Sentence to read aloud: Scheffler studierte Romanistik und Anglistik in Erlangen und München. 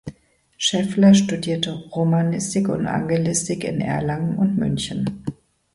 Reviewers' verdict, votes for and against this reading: rejected, 1, 3